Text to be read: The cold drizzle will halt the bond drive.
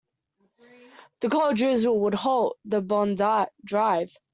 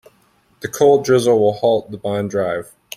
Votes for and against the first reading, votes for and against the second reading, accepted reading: 0, 2, 2, 0, second